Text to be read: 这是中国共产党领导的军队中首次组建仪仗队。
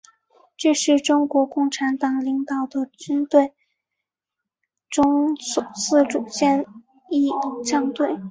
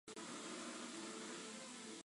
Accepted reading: first